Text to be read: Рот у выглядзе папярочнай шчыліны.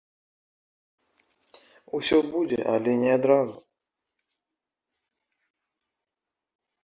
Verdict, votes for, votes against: rejected, 0, 2